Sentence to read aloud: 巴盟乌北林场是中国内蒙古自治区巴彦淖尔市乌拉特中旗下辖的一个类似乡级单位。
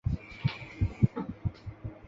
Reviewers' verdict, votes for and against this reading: rejected, 0, 2